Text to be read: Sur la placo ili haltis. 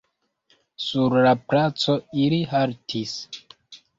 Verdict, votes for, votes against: rejected, 0, 2